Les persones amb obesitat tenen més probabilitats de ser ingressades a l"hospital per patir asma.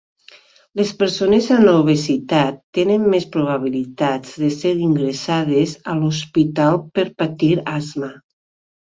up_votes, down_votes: 2, 1